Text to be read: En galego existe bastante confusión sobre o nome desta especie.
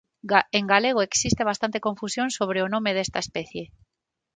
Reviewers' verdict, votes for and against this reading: rejected, 0, 9